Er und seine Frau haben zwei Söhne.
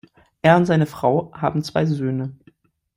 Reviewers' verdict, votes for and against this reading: accepted, 2, 0